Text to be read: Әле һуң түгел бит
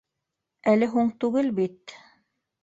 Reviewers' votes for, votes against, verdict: 2, 0, accepted